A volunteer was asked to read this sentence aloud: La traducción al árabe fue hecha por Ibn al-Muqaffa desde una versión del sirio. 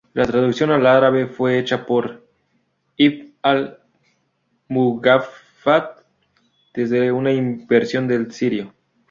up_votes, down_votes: 2, 2